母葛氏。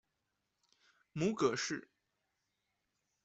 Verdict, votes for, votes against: accepted, 2, 0